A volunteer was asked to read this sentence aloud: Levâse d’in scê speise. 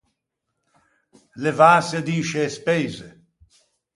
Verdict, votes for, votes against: accepted, 4, 0